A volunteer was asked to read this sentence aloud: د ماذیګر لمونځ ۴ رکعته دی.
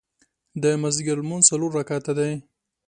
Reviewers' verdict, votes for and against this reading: rejected, 0, 2